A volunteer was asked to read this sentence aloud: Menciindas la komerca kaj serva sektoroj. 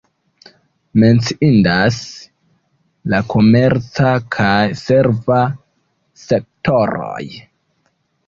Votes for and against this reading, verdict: 1, 2, rejected